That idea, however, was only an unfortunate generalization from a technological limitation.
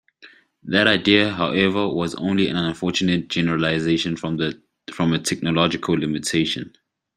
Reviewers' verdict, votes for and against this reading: accepted, 2, 0